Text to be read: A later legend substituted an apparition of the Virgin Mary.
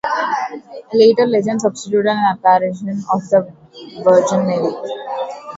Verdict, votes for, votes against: rejected, 0, 2